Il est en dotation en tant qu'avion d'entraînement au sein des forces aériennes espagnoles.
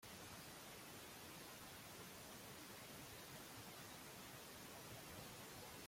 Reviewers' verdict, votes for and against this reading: rejected, 1, 2